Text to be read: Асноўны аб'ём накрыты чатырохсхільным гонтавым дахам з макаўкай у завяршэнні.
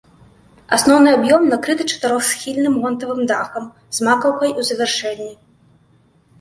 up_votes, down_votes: 2, 0